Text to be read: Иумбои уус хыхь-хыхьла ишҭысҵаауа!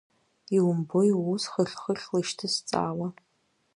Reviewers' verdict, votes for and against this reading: accepted, 2, 0